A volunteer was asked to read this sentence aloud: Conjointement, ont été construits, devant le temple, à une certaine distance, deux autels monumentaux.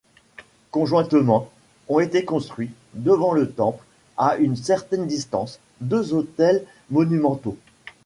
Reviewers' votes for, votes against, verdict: 0, 2, rejected